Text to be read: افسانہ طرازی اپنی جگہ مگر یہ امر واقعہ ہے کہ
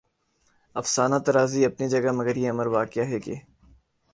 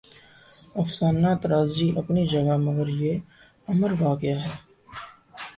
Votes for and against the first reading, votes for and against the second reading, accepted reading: 5, 1, 1, 2, first